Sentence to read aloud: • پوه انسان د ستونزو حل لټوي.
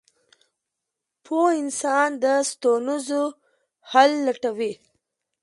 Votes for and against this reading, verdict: 2, 1, accepted